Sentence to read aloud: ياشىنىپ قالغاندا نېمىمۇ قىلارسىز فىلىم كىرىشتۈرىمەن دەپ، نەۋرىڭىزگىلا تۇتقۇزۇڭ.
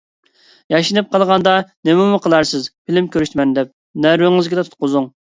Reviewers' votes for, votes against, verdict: 0, 2, rejected